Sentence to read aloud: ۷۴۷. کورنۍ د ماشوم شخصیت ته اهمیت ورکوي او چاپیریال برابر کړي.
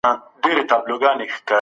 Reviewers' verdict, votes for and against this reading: rejected, 0, 2